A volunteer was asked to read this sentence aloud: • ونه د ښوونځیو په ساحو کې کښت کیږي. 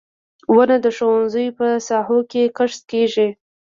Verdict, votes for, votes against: rejected, 1, 2